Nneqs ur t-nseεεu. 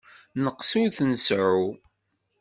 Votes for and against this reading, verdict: 2, 0, accepted